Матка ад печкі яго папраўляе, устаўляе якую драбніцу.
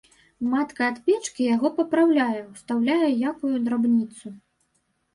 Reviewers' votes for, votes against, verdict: 0, 2, rejected